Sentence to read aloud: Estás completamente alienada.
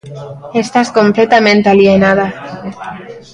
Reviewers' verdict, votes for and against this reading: rejected, 1, 2